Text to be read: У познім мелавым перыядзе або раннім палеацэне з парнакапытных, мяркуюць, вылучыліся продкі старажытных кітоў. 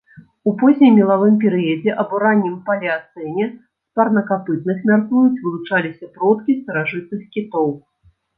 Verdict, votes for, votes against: rejected, 0, 2